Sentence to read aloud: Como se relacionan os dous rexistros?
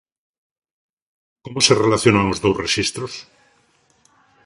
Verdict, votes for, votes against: accepted, 2, 0